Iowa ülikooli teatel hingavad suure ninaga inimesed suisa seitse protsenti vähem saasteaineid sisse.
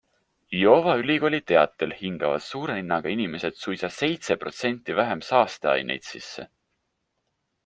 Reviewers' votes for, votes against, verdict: 3, 0, accepted